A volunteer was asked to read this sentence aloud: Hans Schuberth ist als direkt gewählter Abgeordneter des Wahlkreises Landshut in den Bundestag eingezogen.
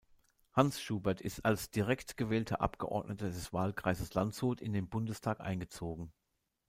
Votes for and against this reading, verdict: 2, 0, accepted